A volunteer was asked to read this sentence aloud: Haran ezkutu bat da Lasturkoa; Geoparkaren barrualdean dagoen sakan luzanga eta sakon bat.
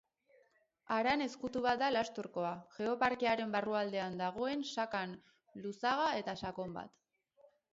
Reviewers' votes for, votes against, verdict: 0, 2, rejected